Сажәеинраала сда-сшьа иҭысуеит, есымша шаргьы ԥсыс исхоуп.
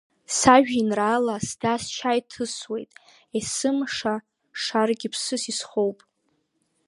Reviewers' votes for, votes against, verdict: 4, 2, accepted